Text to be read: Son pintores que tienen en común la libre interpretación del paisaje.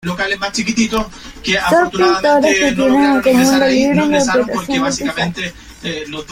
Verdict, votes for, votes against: rejected, 0, 2